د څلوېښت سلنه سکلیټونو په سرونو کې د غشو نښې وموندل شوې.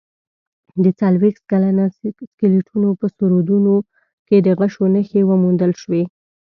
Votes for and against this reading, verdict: 0, 2, rejected